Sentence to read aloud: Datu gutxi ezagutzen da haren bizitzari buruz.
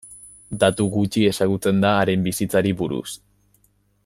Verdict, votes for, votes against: accepted, 2, 0